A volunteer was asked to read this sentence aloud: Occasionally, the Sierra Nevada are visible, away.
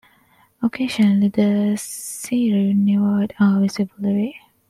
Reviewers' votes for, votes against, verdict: 0, 2, rejected